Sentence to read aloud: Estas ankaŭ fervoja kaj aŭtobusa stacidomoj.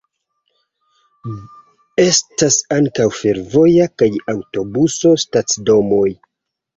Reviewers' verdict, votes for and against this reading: rejected, 0, 2